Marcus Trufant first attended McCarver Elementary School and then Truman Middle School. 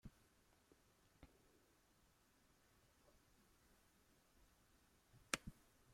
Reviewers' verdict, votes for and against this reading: rejected, 0, 2